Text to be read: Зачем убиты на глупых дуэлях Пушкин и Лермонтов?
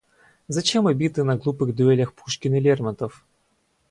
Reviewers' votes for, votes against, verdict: 2, 2, rejected